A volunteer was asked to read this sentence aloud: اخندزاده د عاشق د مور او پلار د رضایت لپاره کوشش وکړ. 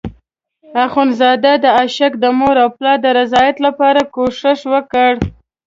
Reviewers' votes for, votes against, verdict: 2, 0, accepted